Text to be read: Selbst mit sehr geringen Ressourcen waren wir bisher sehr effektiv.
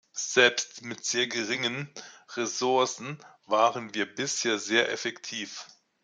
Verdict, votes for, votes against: accepted, 2, 1